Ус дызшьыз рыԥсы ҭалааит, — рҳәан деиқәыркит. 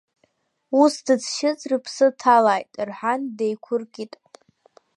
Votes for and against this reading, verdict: 2, 0, accepted